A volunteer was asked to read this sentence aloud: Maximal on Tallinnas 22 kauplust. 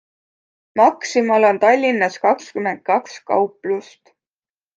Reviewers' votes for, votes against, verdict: 0, 2, rejected